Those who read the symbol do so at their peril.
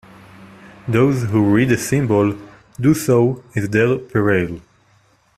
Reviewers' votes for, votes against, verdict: 0, 2, rejected